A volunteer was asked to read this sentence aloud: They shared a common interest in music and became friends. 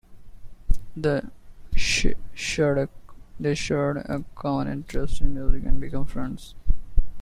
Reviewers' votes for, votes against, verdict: 0, 2, rejected